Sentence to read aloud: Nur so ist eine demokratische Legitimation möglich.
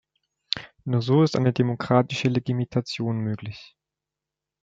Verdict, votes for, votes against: rejected, 1, 2